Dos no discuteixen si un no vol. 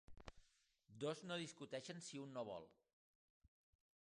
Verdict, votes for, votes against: accepted, 2, 0